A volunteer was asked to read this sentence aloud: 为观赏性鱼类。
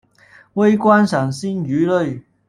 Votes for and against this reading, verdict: 1, 2, rejected